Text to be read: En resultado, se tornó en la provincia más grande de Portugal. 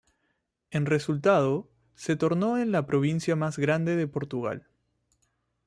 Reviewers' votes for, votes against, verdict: 2, 0, accepted